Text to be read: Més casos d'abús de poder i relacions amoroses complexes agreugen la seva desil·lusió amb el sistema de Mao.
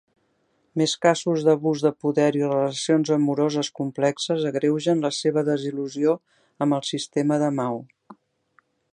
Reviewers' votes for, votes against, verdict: 1, 2, rejected